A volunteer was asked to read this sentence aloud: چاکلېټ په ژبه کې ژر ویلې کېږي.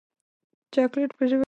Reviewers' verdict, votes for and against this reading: rejected, 1, 2